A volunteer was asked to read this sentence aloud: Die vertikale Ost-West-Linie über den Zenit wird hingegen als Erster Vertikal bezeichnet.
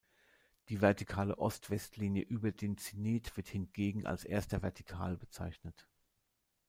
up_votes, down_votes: 1, 2